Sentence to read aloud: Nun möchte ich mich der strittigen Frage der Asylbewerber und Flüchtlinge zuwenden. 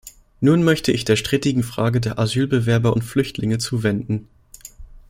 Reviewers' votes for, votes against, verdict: 0, 2, rejected